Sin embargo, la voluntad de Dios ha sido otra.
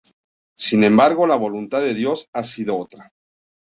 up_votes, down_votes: 2, 0